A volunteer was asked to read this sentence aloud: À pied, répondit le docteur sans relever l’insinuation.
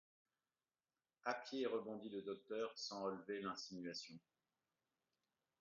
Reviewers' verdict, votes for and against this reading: rejected, 0, 2